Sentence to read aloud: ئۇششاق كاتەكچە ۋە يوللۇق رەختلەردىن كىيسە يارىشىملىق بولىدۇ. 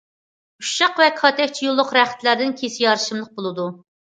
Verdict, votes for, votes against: rejected, 0, 2